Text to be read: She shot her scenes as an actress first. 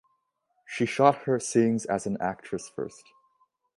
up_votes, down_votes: 2, 0